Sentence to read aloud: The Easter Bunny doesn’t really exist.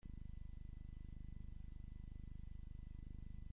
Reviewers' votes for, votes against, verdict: 0, 3, rejected